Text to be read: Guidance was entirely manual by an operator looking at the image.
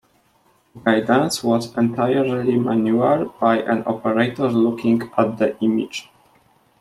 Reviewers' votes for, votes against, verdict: 0, 2, rejected